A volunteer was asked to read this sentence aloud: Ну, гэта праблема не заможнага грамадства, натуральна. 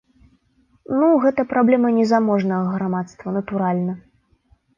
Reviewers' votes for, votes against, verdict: 2, 0, accepted